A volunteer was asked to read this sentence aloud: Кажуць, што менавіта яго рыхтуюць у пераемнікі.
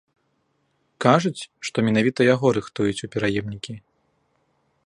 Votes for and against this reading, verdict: 3, 0, accepted